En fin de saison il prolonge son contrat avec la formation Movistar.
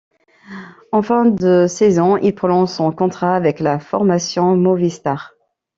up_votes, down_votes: 2, 0